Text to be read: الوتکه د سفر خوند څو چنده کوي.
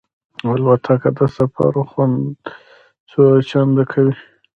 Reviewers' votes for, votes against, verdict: 0, 2, rejected